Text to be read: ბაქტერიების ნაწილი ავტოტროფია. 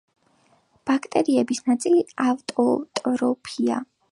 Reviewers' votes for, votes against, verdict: 4, 1, accepted